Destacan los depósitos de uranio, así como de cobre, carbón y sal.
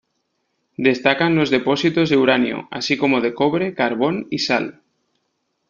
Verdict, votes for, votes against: accepted, 2, 0